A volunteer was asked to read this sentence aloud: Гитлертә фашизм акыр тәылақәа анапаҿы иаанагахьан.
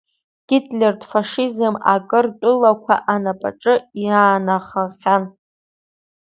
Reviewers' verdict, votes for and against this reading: rejected, 0, 2